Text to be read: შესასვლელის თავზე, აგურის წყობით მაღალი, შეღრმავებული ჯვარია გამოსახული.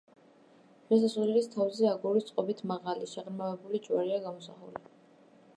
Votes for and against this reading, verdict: 0, 2, rejected